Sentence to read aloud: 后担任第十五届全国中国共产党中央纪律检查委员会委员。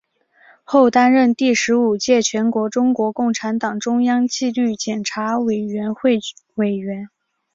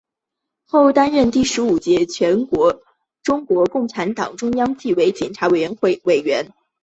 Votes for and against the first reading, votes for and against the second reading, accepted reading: 2, 0, 2, 3, first